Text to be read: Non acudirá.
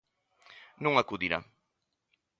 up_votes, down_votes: 2, 0